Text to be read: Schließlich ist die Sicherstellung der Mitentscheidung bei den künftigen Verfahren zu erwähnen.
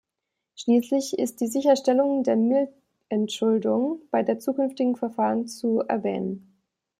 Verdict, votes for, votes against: rejected, 0, 2